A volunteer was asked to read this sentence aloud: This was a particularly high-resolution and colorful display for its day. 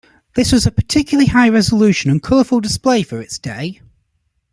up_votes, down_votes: 2, 0